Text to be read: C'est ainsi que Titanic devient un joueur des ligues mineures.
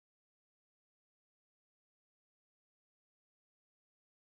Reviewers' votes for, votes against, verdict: 1, 2, rejected